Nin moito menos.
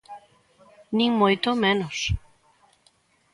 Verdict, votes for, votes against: accepted, 2, 0